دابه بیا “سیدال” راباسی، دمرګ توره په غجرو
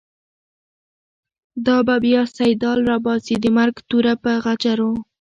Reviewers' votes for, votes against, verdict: 2, 1, accepted